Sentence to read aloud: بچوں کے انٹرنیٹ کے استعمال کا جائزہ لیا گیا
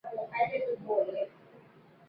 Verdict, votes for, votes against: rejected, 0, 3